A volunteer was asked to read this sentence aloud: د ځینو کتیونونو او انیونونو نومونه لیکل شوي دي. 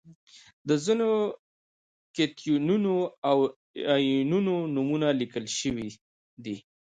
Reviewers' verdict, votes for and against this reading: accepted, 2, 1